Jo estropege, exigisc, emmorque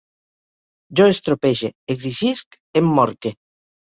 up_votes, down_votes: 2, 0